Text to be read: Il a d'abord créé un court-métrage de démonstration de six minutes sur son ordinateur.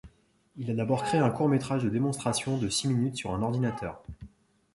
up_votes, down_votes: 1, 2